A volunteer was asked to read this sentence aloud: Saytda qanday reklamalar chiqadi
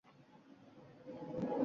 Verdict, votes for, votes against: rejected, 0, 2